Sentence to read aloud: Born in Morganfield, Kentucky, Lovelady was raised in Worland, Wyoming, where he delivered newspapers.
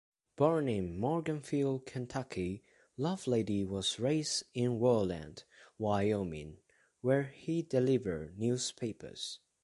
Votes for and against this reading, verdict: 2, 0, accepted